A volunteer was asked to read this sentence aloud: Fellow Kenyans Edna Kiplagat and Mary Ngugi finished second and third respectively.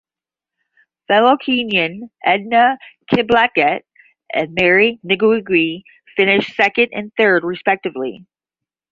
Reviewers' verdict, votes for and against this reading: rejected, 5, 5